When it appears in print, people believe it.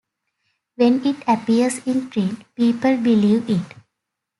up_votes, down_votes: 2, 0